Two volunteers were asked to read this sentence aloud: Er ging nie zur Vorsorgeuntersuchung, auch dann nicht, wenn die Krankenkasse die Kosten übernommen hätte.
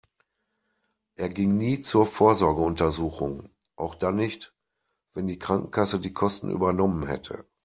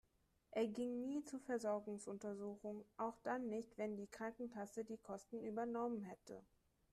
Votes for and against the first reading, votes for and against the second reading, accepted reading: 2, 0, 0, 3, first